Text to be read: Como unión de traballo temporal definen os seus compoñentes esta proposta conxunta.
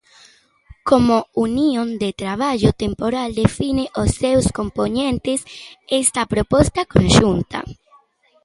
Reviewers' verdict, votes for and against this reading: rejected, 1, 2